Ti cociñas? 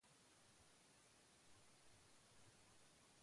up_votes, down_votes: 0, 2